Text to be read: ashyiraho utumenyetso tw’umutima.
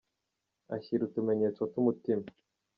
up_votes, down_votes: 1, 2